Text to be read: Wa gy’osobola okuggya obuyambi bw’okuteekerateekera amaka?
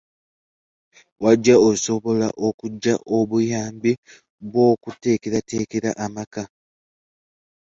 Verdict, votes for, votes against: rejected, 0, 2